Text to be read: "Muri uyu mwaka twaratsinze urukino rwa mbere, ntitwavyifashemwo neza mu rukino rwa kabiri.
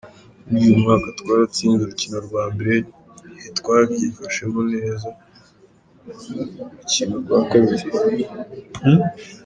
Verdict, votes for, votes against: accepted, 2, 0